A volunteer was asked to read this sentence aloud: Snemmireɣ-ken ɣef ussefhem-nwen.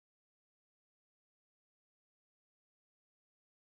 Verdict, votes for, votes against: rejected, 0, 2